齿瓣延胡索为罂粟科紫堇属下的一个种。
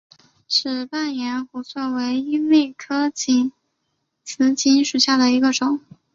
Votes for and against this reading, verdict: 2, 0, accepted